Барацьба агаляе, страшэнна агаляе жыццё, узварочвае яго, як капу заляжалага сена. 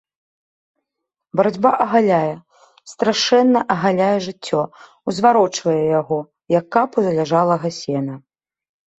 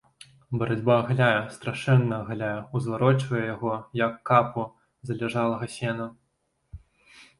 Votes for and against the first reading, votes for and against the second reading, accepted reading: 2, 0, 1, 2, first